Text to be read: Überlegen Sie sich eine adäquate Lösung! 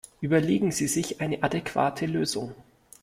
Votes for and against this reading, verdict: 2, 0, accepted